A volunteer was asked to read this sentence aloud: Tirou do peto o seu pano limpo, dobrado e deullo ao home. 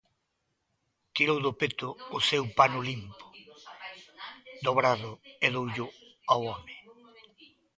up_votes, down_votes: 0, 2